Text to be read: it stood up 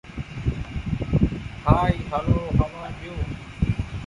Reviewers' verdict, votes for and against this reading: rejected, 0, 3